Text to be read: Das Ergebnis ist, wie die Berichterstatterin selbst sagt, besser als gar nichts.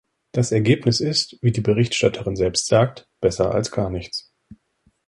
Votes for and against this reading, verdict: 1, 2, rejected